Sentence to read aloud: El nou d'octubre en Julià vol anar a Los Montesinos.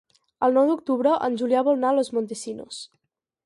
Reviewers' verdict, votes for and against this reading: rejected, 2, 4